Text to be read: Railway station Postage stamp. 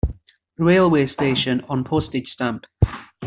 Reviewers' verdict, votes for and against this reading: rejected, 0, 2